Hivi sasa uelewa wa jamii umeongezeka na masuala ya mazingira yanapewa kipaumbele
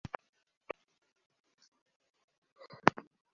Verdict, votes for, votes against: rejected, 0, 2